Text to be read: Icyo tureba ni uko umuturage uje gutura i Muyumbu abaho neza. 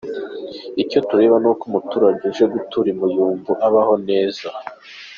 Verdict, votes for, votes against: accepted, 2, 0